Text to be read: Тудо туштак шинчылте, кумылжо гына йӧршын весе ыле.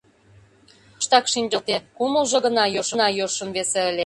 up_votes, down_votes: 0, 2